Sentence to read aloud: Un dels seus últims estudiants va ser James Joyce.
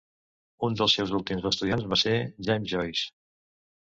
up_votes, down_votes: 2, 0